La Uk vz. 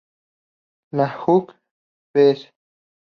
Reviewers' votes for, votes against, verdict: 4, 0, accepted